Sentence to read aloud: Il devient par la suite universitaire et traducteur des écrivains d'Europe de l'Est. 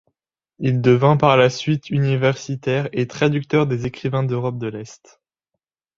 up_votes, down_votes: 1, 2